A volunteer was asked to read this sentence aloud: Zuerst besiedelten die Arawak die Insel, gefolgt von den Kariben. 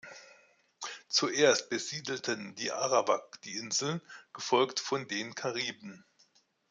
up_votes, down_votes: 2, 0